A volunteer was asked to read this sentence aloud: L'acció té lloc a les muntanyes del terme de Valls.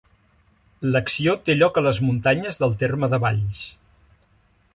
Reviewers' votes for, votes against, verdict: 3, 0, accepted